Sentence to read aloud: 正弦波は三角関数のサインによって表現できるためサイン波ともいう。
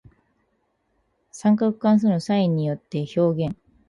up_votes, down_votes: 2, 2